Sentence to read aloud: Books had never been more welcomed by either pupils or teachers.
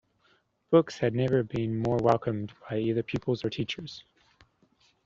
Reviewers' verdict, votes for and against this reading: accepted, 2, 0